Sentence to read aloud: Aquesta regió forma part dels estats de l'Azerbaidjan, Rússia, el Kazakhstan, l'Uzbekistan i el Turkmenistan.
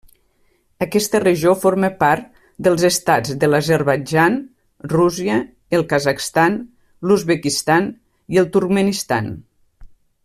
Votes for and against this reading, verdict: 1, 2, rejected